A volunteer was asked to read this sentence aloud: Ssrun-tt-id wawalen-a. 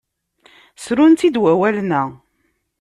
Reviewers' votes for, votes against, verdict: 2, 0, accepted